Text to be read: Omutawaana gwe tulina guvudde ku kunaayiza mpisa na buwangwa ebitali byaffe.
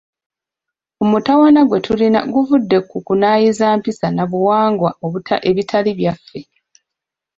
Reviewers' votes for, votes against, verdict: 1, 2, rejected